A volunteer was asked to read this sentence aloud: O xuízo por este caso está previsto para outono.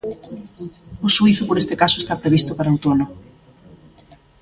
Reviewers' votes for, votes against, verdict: 1, 2, rejected